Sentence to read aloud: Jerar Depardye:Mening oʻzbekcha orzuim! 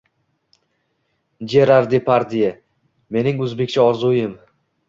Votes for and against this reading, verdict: 2, 0, accepted